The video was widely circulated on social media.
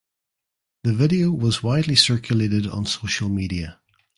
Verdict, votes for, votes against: accepted, 2, 0